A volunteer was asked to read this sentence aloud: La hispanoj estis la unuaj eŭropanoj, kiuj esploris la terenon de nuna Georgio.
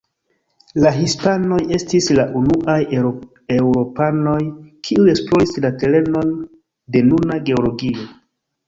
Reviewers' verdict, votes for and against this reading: accepted, 2, 1